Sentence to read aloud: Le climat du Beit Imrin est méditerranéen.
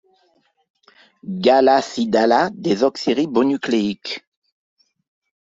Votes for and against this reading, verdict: 0, 2, rejected